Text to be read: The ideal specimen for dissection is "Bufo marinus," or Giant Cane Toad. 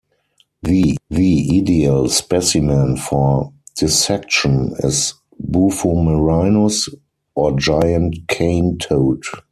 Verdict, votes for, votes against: rejected, 2, 4